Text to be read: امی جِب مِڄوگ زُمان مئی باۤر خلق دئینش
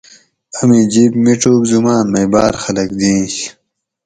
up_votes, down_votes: 2, 2